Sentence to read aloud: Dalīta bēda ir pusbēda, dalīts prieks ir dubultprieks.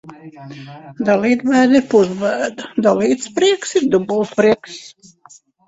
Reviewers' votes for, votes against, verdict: 1, 2, rejected